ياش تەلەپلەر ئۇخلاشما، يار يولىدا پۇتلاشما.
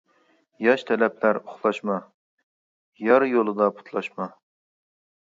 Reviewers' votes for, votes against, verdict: 2, 0, accepted